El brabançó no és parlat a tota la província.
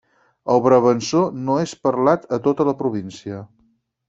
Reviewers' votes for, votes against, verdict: 4, 0, accepted